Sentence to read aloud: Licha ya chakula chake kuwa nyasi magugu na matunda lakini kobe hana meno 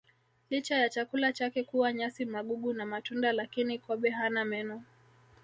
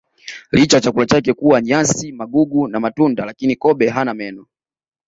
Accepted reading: second